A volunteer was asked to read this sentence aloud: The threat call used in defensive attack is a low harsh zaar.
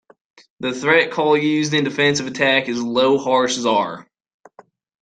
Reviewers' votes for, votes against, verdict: 2, 1, accepted